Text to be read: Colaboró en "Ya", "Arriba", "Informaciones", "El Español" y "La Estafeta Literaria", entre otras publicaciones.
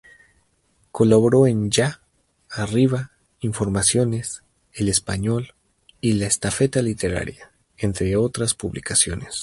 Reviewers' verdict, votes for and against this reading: rejected, 2, 2